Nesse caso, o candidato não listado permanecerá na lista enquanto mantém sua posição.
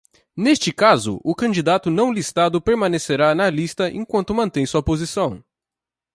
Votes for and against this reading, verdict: 1, 2, rejected